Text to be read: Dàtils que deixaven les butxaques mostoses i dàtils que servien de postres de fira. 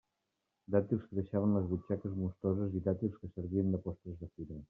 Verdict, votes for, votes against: rejected, 1, 2